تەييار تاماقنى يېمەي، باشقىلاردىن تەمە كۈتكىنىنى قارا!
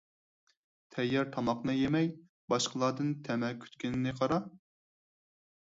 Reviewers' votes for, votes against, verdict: 0, 4, rejected